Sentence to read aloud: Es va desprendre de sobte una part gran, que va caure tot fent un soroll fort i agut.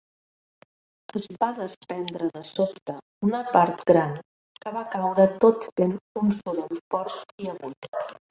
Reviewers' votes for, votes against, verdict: 0, 2, rejected